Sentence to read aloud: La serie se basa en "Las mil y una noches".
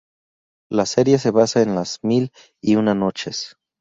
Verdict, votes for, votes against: accepted, 4, 0